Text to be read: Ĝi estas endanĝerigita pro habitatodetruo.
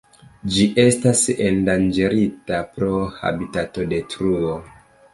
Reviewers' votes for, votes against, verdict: 1, 2, rejected